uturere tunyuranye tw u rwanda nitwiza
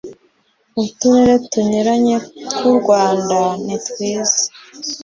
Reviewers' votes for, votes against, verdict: 2, 0, accepted